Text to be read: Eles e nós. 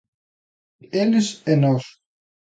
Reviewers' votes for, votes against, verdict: 3, 0, accepted